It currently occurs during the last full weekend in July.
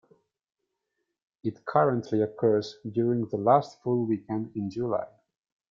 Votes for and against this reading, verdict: 2, 0, accepted